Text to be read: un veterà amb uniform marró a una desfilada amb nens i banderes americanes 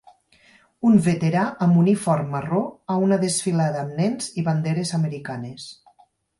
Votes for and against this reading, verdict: 4, 0, accepted